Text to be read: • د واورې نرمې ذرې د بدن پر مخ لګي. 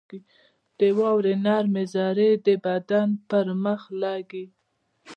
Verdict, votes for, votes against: rejected, 1, 2